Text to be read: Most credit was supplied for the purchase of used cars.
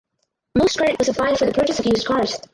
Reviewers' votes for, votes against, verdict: 0, 4, rejected